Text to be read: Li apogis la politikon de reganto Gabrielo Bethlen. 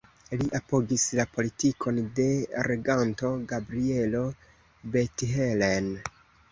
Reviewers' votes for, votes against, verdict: 2, 1, accepted